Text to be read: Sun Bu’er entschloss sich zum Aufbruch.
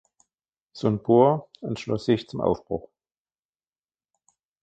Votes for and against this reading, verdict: 2, 0, accepted